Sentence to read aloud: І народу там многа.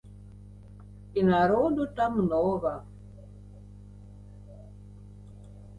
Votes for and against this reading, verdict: 2, 0, accepted